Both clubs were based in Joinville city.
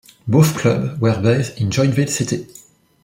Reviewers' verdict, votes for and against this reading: rejected, 1, 2